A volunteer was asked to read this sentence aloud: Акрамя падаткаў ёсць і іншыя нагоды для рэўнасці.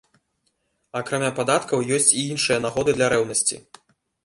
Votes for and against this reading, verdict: 2, 0, accepted